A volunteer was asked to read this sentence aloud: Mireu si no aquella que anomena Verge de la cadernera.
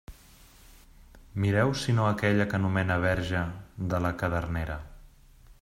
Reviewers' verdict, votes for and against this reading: accepted, 2, 0